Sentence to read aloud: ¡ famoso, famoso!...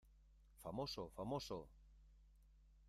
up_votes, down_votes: 1, 2